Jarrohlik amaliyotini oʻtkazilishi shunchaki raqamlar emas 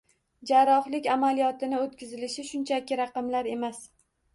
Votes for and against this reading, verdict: 2, 0, accepted